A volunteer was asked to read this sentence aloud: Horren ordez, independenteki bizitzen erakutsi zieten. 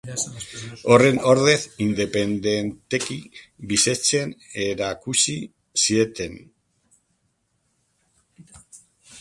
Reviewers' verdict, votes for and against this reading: rejected, 0, 3